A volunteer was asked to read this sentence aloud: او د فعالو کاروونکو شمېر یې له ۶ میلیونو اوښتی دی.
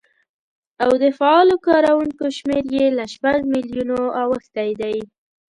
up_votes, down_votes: 0, 2